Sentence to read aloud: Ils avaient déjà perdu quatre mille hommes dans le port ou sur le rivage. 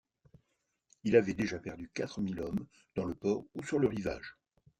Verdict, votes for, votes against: rejected, 1, 2